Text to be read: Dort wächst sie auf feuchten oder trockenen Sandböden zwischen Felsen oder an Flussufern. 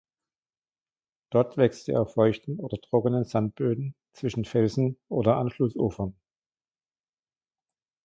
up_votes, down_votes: 1, 2